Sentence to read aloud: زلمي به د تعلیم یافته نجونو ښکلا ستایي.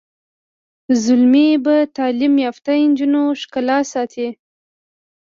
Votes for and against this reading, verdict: 1, 2, rejected